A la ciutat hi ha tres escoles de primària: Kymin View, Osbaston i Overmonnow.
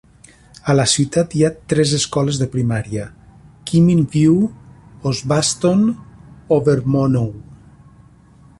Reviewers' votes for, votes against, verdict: 0, 2, rejected